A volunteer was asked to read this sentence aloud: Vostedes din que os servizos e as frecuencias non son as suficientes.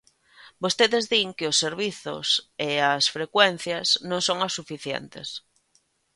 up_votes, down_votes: 2, 0